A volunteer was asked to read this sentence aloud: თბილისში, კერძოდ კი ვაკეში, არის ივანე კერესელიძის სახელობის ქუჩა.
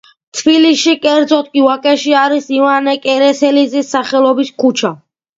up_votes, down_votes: 2, 0